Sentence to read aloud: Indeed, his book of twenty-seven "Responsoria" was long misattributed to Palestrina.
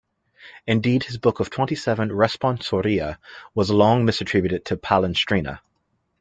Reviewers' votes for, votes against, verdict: 2, 1, accepted